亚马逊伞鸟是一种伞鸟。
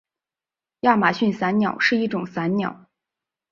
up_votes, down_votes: 2, 0